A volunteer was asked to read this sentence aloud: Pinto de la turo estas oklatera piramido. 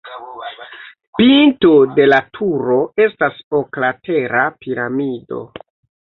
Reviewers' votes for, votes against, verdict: 0, 2, rejected